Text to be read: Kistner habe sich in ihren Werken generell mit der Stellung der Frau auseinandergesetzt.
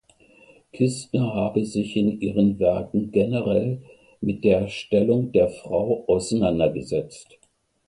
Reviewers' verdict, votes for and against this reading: rejected, 0, 2